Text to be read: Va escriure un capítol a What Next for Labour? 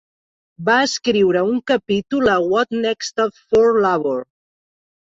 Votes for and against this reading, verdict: 0, 2, rejected